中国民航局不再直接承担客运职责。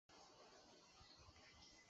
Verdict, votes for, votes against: rejected, 0, 2